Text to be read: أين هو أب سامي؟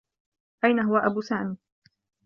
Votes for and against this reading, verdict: 1, 2, rejected